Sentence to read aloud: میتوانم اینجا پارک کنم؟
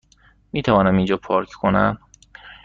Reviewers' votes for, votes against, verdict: 2, 0, accepted